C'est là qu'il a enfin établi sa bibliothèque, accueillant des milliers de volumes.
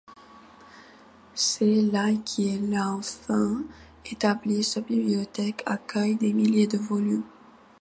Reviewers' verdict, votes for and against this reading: accepted, 2, 1